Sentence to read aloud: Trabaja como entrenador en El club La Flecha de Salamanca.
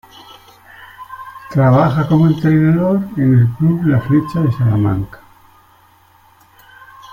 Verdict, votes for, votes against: accepted, 2, 0